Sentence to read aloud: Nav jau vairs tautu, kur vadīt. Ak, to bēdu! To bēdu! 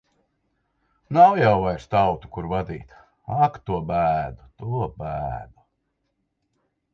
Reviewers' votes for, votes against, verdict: 2, 0, accepted